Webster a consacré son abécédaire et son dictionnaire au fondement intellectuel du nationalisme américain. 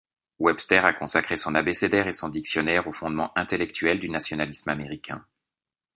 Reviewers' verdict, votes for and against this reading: accepted, 2, 0